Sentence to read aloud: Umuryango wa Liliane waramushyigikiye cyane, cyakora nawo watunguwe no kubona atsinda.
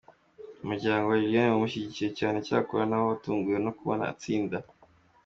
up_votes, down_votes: 2, 0